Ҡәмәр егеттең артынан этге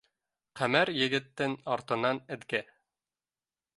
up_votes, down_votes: 1, 2